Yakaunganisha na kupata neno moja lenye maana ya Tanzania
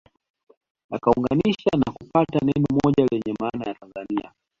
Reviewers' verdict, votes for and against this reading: accepted, 2, 0